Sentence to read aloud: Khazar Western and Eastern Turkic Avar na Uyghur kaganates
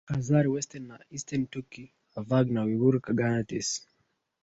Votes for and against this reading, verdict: 1, 2, rejected